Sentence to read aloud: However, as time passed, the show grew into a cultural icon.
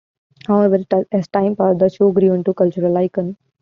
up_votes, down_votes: 1, 2